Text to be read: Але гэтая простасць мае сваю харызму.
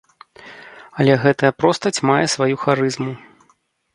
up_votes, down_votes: 0, 2